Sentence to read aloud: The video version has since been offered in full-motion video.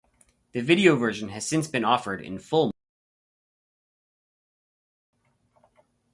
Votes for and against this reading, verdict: 0, 4, rejected